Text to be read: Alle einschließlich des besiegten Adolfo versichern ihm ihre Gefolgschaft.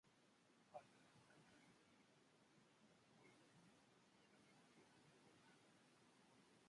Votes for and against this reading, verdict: 0, 2, rejected